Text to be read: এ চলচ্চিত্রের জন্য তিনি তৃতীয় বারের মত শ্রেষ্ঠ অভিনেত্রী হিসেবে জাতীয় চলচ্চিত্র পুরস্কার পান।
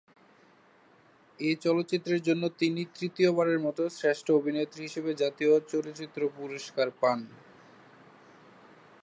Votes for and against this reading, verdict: 2, 0, accepted